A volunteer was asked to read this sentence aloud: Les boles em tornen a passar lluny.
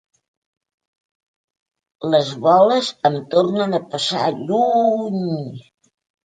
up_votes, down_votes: 0, 2